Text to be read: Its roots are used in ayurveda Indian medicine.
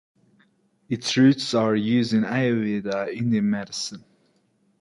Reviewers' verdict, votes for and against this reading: accepted, 2, 0